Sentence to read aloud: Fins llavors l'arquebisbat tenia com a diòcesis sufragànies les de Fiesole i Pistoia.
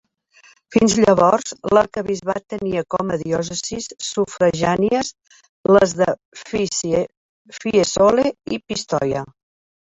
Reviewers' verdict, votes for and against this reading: rejected, 0, 4